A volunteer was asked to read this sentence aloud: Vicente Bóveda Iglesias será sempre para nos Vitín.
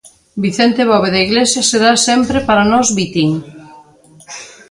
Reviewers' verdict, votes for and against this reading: accepted, 2, 0